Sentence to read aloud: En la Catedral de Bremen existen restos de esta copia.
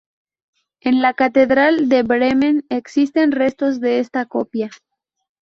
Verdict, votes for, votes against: accepted, 2, 0